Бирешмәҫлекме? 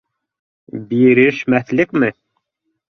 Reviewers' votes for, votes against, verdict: 2, 0, accepted